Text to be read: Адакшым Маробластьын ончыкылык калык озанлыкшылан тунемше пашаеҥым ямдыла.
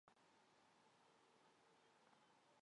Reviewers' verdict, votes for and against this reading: rejected, 1, 3